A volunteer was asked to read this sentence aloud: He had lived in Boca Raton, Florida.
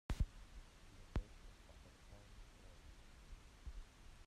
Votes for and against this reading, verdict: 0, 3, rejected